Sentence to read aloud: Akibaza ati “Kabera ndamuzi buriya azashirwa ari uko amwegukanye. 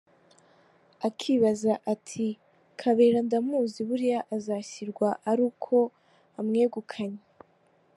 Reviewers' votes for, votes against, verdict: 3, 1, accepted